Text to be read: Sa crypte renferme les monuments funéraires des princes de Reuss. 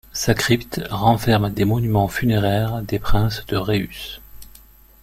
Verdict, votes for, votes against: rejected, 1, 2